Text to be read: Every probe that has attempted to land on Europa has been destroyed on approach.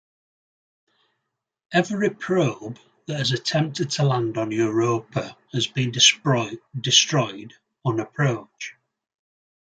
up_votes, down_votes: 0, 2